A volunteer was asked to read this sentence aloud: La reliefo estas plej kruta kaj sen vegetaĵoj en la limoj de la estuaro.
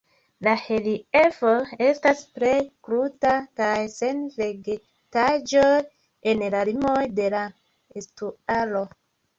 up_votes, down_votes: 2, 0